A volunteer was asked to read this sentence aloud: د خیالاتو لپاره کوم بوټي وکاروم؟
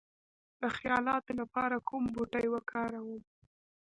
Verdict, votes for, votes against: accepted, 2, 0